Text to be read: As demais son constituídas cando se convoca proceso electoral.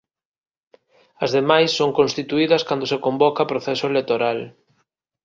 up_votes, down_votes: 2, 0